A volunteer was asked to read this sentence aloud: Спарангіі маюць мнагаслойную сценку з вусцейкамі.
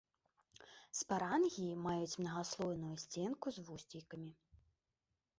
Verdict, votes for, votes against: accepted, 2, 1